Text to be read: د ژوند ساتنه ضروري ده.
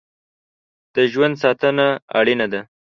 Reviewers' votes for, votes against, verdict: 1, 3, rejected